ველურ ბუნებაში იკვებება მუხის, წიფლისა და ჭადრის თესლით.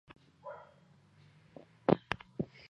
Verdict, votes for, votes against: rejected, 0, 2